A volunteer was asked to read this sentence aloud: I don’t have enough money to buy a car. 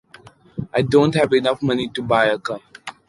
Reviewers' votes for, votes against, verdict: 0, 2, rejected